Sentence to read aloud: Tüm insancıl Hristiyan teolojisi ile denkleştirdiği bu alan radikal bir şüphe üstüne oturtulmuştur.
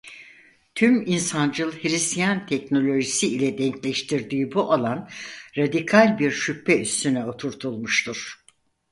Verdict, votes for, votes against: rejected, 0, 4